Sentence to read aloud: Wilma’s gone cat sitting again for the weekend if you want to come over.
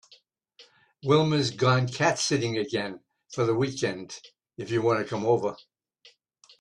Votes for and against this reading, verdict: 2, 0, accepted